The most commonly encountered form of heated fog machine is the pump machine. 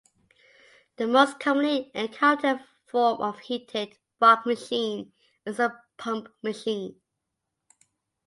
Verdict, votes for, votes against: accepted, 2, 0